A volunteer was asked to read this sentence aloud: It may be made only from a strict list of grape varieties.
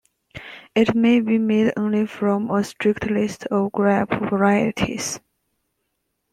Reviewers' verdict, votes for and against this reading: rejected, 1, 2